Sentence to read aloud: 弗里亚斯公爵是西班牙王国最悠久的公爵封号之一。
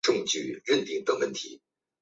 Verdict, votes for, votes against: rejected, 0, 2